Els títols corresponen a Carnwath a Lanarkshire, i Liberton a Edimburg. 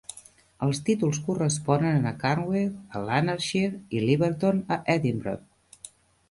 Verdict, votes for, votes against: rejected, 1, 2